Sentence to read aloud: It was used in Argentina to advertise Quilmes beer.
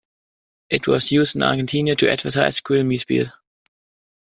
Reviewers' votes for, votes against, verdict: 0, 2, rejected